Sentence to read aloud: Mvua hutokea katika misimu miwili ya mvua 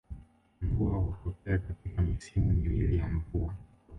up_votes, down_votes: 1, 2